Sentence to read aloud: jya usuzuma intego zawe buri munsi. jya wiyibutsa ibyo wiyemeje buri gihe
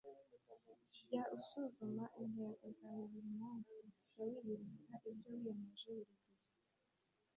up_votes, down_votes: 2, 0